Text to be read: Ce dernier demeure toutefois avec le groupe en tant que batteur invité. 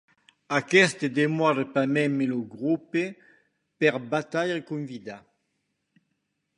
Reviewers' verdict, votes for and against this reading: rejected, 1, 2